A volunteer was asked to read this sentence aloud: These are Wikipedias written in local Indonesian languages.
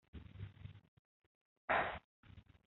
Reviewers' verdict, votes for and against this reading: rejected, 0, 2